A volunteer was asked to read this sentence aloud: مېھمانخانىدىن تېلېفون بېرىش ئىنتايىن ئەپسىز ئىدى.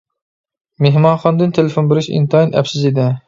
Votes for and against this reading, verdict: 2, 0, accepted